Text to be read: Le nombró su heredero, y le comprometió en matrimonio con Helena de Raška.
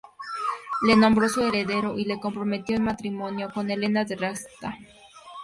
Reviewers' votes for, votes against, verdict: 2, 0, accepted